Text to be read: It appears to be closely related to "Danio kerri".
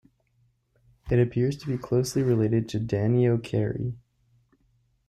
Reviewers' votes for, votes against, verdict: 2, 0, accepted